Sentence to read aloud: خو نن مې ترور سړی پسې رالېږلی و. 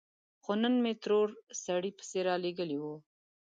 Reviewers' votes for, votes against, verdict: 2, 0, accepted